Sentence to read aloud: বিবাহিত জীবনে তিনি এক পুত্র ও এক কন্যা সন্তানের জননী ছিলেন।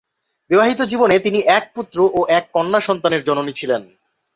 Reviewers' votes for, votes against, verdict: 2, 2, rejected